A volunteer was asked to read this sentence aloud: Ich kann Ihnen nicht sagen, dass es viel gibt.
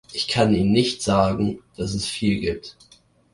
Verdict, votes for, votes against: accepted, 2, 0